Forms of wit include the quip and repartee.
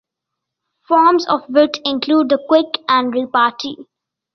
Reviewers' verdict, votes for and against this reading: rejected, 1, 2